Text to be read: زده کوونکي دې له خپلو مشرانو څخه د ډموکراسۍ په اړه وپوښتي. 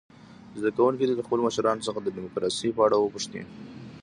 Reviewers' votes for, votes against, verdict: 0, 2, rejected